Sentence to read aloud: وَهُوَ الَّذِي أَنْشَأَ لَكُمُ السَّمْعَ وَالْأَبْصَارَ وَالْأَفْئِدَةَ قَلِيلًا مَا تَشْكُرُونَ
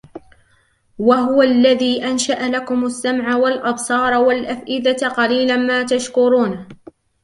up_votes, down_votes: 1, 2